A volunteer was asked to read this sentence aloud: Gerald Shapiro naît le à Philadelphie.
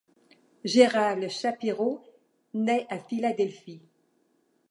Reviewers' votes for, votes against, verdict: 1, 2, rejected